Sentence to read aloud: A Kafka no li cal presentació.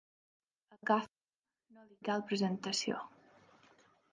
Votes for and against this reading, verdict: 0, 2, rejected